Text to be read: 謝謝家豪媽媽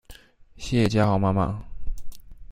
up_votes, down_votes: 2, 0